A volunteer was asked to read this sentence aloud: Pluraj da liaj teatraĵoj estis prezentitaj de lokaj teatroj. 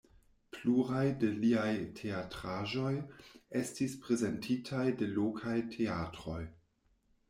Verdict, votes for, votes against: rejected, 1, 2